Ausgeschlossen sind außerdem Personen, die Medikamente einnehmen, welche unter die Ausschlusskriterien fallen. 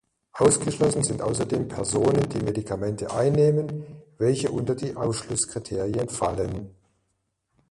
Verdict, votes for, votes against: accepted, 2, 1